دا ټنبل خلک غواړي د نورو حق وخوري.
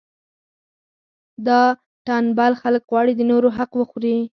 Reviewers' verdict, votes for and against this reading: rejected, 0, 4